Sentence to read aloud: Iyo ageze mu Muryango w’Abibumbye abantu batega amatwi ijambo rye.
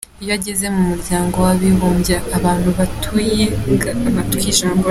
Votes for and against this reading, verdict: 0, 2, rejected